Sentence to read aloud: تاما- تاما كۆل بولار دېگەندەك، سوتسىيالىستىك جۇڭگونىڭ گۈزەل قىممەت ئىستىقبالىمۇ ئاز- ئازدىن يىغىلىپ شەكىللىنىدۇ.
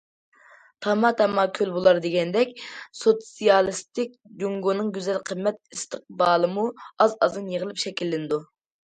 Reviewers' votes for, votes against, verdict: 2, 0, accepted